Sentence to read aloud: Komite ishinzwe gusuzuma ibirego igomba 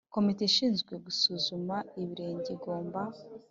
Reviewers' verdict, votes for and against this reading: rejected, 1, 2